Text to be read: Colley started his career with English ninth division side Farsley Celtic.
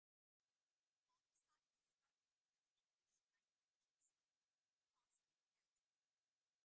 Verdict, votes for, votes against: rejected, 0, 2